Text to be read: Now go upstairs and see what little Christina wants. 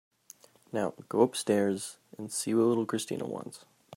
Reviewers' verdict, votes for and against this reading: accepted, 3, 0